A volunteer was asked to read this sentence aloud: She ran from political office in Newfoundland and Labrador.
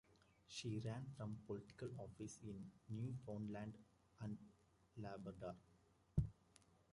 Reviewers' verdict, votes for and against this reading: rejected, 0, 2